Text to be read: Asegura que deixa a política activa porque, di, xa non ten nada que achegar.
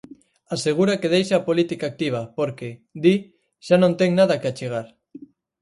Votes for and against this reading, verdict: 4, 0, accepted